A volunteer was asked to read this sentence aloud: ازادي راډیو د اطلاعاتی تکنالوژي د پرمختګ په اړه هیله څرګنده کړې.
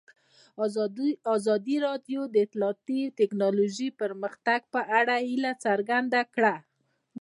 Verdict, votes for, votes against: rejected, 0, 2